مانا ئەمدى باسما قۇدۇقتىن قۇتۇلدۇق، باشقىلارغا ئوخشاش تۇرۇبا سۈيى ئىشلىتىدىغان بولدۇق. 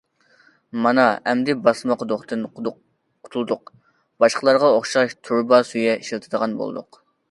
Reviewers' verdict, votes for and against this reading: rejected, 0, 2